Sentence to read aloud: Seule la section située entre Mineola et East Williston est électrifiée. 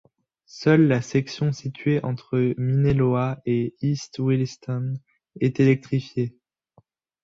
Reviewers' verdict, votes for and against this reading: rejected, 1, 2